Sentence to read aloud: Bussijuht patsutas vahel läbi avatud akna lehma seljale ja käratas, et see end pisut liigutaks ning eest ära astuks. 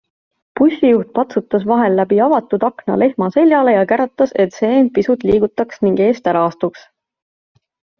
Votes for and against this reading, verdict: 2, 0, accepted